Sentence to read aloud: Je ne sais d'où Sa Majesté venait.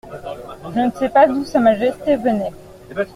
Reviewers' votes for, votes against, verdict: 0, 2, rejected